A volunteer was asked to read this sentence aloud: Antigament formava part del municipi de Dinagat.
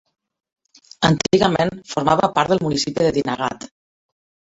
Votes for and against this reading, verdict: 1, 2, rejected